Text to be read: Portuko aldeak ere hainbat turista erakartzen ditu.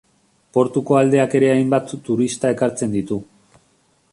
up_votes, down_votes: 1, 2